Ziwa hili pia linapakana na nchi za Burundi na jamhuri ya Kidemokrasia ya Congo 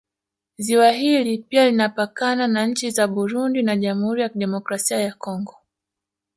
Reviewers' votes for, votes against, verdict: 0, 2, rejected